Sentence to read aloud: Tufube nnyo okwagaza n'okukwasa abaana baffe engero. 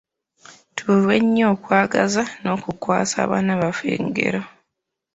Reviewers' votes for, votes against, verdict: 0, 2, rejected